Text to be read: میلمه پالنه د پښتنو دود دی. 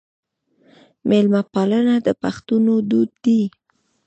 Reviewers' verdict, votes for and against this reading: rejected, 1, 2